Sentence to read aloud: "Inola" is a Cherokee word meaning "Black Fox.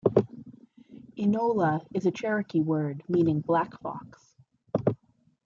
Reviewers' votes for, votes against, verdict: 2, 0, accepted